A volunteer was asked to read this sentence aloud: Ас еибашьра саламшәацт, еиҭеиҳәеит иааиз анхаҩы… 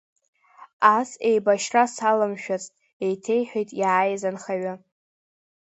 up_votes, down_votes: 2, 0